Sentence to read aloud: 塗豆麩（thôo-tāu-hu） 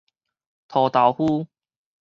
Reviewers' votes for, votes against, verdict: 4, 0, accepted